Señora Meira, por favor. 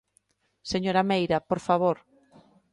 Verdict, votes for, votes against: accepted, 2, 0